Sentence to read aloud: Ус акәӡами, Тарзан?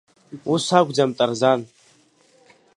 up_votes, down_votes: 0, 3